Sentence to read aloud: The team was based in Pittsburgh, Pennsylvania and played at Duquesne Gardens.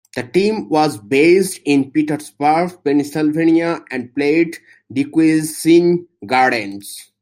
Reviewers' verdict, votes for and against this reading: rejected, 0, 2